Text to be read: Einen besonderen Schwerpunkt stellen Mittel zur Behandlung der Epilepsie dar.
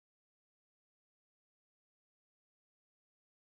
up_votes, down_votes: 0, 2